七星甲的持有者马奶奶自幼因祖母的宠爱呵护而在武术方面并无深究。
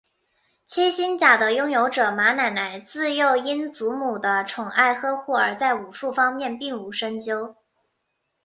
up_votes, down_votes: 1, 2